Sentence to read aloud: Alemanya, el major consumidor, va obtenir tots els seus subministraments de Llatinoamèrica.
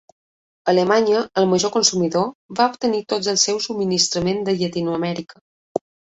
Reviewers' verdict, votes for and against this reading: rejected, 0, 2